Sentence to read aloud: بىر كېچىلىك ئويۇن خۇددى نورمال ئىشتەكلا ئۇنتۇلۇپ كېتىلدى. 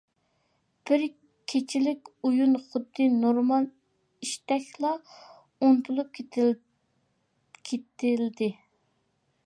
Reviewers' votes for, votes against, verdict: 2, 1, accepted